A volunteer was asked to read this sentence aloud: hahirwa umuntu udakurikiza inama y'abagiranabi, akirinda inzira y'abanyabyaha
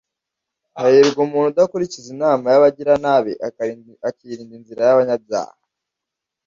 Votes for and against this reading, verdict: 1, 2, rejected